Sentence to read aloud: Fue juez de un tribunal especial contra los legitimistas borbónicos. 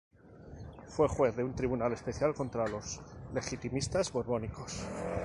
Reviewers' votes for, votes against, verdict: 2, 0, accepted